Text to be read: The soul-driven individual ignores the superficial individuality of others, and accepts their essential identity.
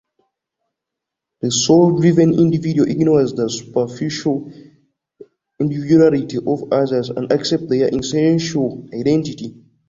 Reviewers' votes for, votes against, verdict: 1, 2, rejected